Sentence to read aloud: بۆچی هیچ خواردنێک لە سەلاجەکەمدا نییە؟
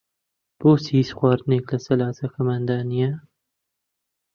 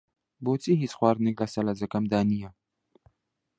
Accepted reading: second